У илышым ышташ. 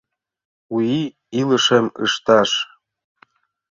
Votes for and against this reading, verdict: 1, 2, rejected